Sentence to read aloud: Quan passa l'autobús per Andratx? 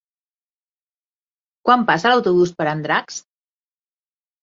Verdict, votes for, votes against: rejected, 0, 2